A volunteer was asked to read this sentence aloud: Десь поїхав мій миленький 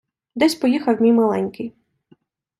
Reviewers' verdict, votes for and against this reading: accepted, 2, 0